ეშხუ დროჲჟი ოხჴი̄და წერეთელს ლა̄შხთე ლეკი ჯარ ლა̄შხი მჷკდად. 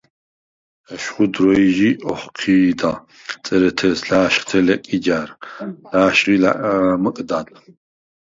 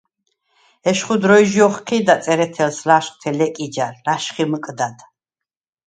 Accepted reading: second